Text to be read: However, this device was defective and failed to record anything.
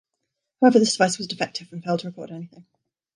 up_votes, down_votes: 0, 2